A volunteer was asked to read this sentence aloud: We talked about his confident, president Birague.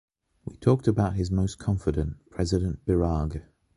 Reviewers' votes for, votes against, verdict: 1, 2, rejected